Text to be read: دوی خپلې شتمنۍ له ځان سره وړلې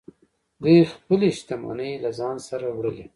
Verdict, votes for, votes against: rejected, 1, 2